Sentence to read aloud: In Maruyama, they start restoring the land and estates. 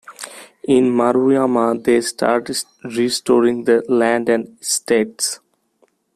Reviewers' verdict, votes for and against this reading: accepted, 2, 0